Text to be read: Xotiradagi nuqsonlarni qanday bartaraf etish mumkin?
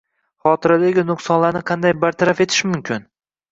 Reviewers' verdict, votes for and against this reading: accepted, 2, 0